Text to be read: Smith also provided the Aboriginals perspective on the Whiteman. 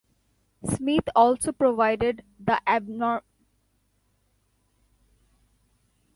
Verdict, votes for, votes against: rejected, 1, 2